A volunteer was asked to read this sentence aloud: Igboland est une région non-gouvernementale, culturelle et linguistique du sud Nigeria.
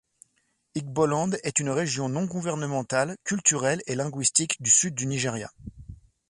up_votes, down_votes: 1, 2